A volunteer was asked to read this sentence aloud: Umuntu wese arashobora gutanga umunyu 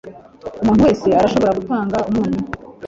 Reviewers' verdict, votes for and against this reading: accepted, 2, 0